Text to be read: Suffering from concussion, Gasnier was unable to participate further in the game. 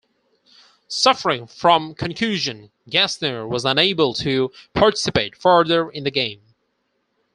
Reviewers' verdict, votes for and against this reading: rejected, 0, 4